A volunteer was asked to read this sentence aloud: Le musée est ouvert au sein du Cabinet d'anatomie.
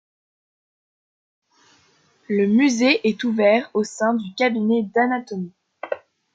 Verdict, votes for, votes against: rejected, 1, 2